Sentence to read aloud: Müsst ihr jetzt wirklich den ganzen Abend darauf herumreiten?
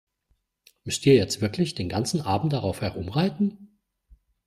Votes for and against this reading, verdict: 2, 0, accepted